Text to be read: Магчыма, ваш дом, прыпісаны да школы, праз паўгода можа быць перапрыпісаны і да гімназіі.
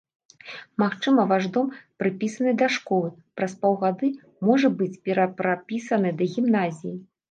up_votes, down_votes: 0, 2